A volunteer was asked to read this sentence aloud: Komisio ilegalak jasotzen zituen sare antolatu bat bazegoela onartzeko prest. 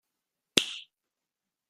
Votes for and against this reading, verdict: 0, 2, rejected